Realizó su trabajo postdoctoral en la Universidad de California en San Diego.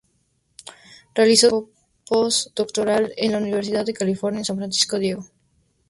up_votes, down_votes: 0, 2